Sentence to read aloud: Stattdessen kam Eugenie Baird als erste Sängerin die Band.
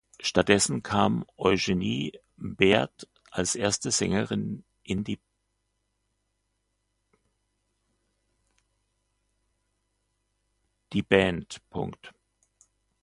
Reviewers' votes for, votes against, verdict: 0, 2, rejected